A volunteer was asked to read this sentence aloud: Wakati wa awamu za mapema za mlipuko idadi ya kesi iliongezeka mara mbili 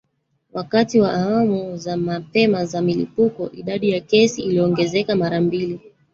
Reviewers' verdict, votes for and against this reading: rejected, 1, 2